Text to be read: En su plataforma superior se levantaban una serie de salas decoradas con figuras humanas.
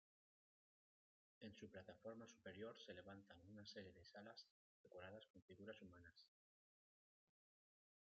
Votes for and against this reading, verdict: 0, 2, rejected